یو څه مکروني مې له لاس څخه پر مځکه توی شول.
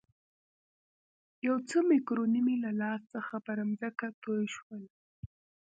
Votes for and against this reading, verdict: 1, 2, rejected